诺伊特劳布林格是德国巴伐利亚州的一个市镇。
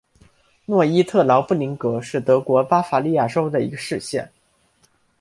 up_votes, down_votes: 0, 2